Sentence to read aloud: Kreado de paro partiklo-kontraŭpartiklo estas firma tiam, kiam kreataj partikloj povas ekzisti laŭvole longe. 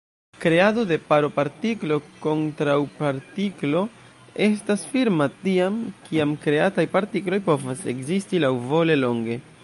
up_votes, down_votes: 0, 2